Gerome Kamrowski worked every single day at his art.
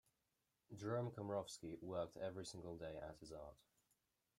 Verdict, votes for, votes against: accepted, 2, 0